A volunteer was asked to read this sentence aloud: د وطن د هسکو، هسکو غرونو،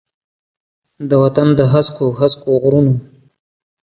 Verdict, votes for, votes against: accepted, 2, 0